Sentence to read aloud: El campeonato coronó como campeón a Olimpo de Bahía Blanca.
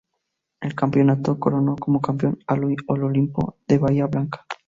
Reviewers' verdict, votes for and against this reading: rejected, 0, 2